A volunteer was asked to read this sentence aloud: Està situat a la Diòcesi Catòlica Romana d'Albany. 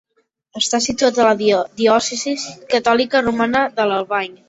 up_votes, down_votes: 1, 2